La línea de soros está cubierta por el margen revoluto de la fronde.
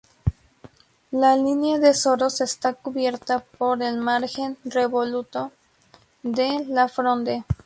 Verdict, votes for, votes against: accepted, 4, 0